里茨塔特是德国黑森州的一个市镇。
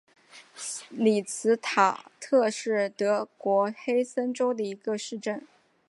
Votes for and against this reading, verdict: 2, 0, accepted